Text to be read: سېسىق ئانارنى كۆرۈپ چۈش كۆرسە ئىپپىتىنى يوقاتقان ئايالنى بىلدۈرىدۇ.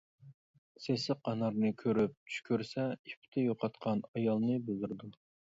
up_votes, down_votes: 0, 2